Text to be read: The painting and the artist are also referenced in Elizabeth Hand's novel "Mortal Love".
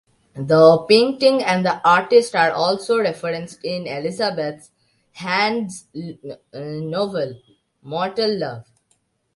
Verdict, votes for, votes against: rejected, 0, 2